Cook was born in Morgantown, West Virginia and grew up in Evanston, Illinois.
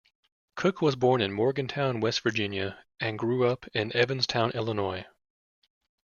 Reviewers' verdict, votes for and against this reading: rejected, 0, 2